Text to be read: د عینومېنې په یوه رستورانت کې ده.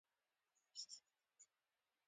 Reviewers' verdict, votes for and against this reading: rejected, 1, 2